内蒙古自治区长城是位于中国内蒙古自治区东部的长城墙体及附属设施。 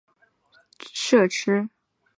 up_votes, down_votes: 1, 4